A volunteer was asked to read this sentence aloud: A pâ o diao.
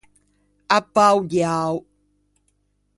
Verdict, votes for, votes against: accepted, 2, 0